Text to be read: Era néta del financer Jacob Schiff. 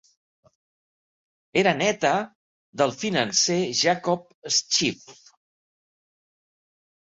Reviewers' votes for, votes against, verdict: 0, 2, rejected